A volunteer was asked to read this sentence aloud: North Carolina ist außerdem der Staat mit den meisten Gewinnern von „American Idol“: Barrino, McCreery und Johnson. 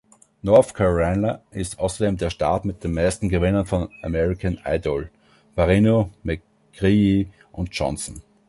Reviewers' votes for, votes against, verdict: 1, 2, rejected